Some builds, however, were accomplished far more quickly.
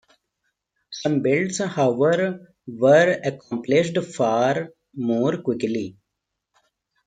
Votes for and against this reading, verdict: 0, 2, rejected